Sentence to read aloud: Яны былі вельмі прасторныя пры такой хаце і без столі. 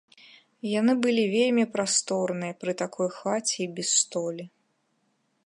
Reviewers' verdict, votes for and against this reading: accepted, 2, 0